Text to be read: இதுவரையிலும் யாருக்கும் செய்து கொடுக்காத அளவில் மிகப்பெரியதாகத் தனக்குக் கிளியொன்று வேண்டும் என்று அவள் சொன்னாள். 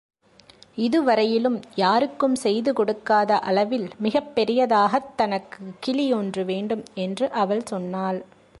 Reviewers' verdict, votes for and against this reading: accepted, 2, 0